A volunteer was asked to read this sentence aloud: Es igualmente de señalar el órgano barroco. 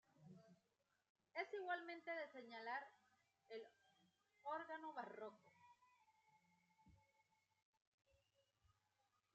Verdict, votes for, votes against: accepted, 2, 1